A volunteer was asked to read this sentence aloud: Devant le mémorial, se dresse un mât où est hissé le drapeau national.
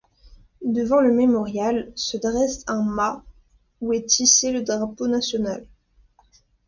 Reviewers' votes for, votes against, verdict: 2, 0, accepted